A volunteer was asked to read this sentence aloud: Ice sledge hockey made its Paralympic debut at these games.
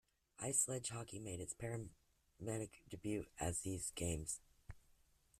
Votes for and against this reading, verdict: 0, 2, rejected